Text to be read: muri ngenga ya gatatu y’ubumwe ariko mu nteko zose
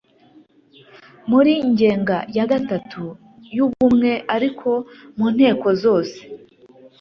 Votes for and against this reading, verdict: 2, 0, accepted